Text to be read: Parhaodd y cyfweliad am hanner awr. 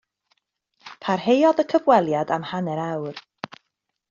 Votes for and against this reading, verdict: 1, 2, rejected